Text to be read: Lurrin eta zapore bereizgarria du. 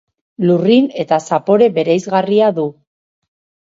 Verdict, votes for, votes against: accepted, 2, 0